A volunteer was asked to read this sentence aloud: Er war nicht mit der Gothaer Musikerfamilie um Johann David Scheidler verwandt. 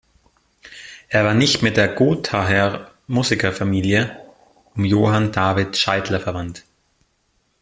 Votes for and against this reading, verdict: 2, 0, accepted